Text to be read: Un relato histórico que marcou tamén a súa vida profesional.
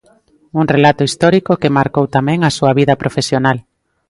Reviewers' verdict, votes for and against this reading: accepted, 2, 0